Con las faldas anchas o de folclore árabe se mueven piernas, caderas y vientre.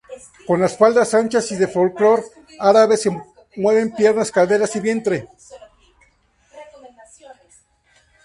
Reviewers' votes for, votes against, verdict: 2, 2, rejected